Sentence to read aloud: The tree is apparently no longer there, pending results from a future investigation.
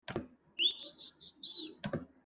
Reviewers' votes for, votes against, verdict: 0, 2, rejected